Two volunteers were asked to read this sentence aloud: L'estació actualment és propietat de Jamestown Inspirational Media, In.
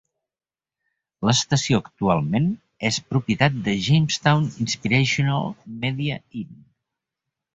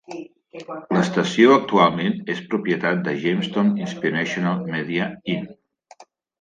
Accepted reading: first